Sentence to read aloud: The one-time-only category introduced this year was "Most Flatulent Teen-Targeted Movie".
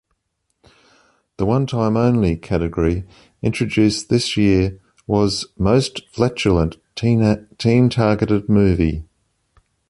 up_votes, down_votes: 0, 2